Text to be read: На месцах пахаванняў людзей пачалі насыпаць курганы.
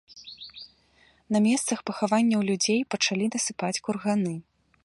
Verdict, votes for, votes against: accepted, 2, 1